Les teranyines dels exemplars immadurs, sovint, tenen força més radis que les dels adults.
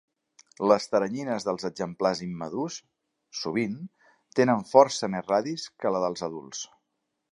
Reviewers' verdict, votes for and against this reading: rejected, 1, 2